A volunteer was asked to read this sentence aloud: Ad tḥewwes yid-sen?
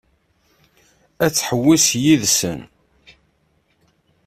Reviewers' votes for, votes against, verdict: 2, 0, accepted